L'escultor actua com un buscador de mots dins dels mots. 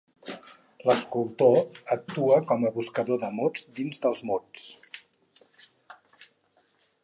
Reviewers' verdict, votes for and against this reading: rejected, 0, 4